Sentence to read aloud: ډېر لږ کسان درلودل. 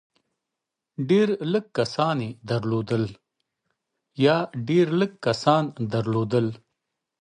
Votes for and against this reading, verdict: 1, 2, rejected